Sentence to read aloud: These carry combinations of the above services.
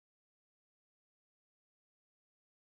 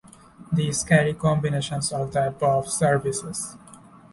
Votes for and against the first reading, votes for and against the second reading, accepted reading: 0, 2, 2, 0, second